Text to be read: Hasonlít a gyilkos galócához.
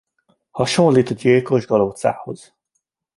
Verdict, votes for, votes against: accepted, 2, 0